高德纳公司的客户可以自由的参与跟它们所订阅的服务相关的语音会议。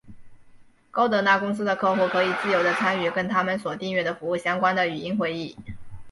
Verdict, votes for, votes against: accepted, 2, 0